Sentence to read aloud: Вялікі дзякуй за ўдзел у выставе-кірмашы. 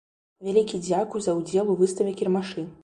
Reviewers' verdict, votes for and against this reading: accepted, 2, 1